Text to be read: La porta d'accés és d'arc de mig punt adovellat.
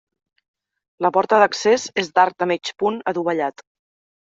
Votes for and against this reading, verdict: 0, 2, rejected